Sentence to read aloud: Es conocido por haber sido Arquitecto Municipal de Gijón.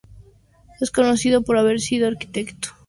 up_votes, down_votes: 0, 2